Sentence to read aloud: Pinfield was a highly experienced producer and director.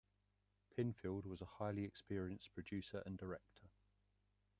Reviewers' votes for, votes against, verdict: 0, 2, rejected